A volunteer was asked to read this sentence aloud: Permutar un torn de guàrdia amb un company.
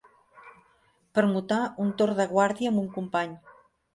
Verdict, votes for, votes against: accepted, 3, 0